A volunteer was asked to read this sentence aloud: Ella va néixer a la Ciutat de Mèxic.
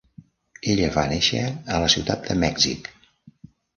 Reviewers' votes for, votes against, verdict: 3, 0, accepted